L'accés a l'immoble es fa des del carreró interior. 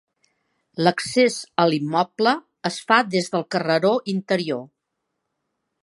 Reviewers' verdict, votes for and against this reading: accepted, 3, 0